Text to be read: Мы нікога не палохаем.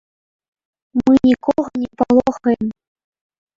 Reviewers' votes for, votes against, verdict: 0, 2, rejected